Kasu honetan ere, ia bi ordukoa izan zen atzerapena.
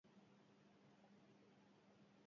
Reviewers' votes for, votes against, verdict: 0, 4, rejected